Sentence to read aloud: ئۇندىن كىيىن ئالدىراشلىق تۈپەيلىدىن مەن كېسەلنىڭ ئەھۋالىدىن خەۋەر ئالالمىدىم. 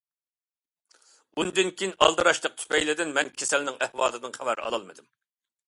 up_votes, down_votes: 2, 0